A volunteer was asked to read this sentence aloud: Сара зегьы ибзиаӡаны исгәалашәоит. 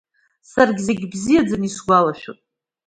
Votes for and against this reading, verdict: 1, 2, rejected